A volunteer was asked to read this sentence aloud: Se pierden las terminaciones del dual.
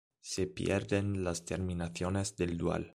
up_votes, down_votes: 2, 0